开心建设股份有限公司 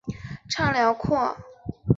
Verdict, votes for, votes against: rejected, 1, 2